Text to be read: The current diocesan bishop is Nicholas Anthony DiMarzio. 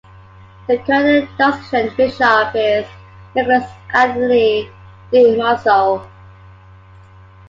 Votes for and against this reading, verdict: 0, 2, rejected